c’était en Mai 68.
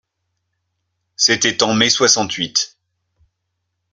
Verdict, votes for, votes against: rejected, 0, 2